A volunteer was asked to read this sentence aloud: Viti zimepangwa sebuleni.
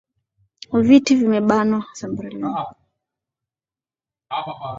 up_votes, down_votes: 1, 4